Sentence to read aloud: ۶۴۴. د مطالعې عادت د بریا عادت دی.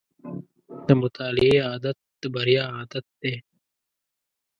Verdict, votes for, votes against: rejected, 0, 2